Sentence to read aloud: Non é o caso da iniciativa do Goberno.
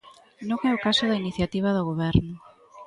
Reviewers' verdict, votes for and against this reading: accepted, 2, 0